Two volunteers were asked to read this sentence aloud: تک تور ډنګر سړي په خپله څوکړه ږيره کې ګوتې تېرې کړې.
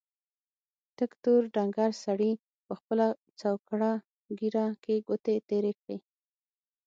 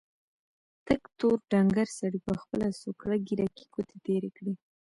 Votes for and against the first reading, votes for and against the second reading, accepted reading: 3, 6, 2, 0, second